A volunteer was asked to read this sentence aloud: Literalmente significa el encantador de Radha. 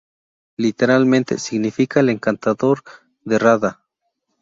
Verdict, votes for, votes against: accepted, 4, 0